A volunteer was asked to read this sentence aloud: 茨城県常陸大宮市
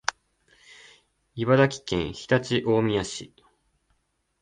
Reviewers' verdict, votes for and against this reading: accepted, 3, 0